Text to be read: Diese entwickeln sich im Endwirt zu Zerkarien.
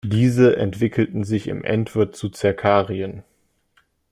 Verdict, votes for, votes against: rejected, 1, 2